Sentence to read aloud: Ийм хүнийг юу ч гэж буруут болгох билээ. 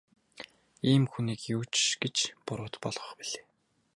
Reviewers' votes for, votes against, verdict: 0, 2, rejected